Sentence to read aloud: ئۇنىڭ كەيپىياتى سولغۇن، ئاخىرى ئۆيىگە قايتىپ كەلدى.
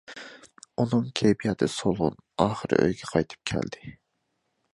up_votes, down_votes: 2, 0